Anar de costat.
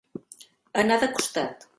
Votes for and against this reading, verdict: 0, 2, rejected